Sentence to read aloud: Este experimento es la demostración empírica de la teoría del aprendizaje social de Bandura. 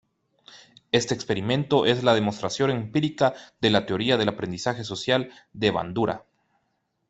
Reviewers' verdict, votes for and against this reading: accepted, 2, 0